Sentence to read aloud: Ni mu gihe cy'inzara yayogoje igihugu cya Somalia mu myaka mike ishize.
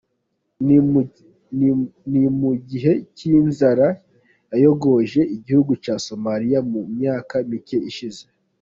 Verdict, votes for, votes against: rejected, 0, 2